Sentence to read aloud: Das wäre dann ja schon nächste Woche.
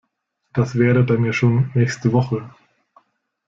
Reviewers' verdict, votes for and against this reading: accepted, 2, 0